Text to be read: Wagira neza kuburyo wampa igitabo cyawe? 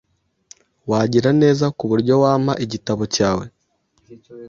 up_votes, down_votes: 2, 0